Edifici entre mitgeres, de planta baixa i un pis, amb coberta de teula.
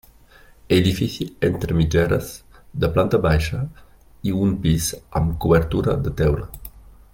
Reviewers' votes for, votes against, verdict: 0, 2, rejected